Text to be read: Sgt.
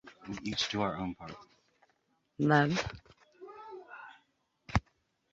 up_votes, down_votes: 0, 2